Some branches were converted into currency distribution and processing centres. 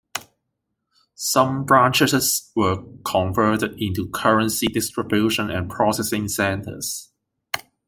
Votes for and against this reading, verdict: 1, 2, rejected